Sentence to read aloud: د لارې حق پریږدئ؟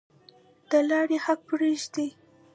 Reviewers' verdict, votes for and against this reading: accepted, 2, 0